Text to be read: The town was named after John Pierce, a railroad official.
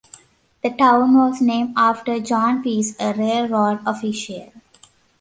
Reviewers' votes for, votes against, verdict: 2, 0, accepted